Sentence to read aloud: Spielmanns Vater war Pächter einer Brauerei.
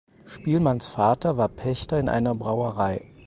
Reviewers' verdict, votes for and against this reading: rejected, 0, 4